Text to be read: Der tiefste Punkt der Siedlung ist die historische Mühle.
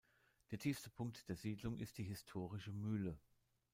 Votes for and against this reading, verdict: 2, 0, accepted